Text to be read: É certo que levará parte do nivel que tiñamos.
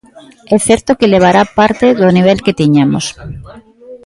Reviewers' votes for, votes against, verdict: 1, 2, rejected